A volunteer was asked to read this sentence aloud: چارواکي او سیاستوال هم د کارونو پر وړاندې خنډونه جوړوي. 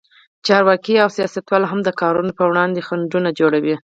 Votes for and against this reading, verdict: 2, 4, rejected